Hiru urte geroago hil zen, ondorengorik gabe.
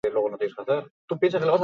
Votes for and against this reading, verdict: 0, 6, rejected